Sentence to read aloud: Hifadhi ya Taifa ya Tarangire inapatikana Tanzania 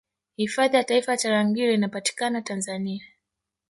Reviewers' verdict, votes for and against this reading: accepted, 3, 1